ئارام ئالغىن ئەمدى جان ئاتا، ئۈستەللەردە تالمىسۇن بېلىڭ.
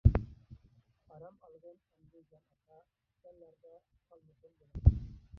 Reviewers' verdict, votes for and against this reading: rejected, 0, 2